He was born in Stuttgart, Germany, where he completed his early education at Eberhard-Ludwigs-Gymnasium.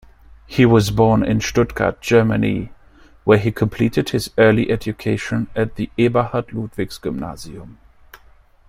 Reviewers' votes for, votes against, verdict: 2, 0, accepted